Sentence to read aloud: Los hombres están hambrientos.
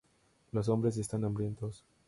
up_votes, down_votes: 2, 0